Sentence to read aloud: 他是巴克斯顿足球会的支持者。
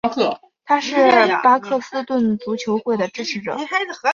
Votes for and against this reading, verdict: 2, 0, accepted